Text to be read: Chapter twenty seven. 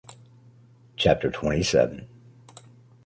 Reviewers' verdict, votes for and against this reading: accepted, 2, 0